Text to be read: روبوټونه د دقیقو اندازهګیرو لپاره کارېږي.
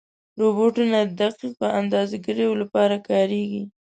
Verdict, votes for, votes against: rejected, 1, 2